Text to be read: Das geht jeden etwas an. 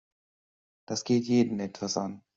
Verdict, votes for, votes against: accepted, 2, 0